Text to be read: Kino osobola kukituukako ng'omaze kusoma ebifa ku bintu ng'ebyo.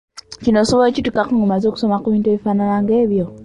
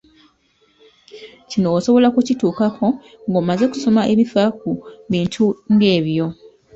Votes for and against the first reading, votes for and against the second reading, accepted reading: 1, 2, 2, 0, second